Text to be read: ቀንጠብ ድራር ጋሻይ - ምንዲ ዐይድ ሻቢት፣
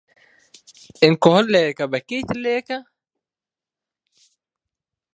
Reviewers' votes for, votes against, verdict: 0, 2, rejected